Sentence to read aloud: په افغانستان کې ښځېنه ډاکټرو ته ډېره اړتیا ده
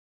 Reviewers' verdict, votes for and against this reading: rejected, 0, 2